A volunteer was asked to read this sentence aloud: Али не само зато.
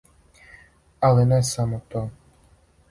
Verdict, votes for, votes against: rejected, 2, 4